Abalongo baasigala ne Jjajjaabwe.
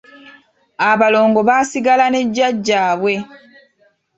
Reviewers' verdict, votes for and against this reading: accepted, 2, 0